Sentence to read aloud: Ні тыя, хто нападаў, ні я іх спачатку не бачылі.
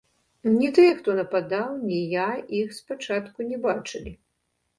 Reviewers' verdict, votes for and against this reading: rejected, 0, 2